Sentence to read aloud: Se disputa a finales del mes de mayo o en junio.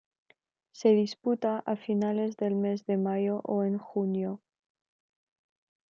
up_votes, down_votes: 2, 0